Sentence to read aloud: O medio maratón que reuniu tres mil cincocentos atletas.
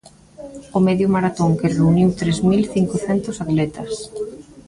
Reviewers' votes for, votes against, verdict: 0, 2, rejected